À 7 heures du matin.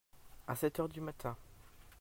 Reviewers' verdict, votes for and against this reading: rejected, 0, 2